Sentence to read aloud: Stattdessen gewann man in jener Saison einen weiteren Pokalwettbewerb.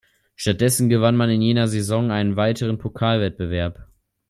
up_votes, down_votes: 2, 0